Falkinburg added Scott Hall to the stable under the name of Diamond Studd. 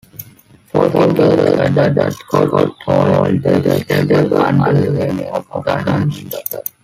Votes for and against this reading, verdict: 0, 2, rejected